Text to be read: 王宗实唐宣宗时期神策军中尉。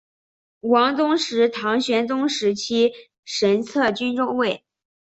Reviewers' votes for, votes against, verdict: 4, 0, accepted